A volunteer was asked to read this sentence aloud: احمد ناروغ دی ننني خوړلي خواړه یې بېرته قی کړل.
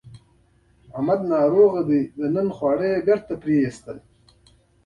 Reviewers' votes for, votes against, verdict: 2, 0, accepted